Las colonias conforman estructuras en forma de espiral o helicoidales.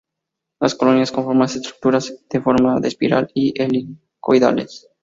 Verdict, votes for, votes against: rejected, 0, 2